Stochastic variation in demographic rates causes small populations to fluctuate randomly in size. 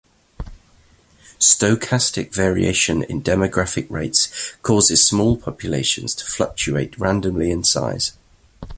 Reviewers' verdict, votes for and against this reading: accepted, 2, 0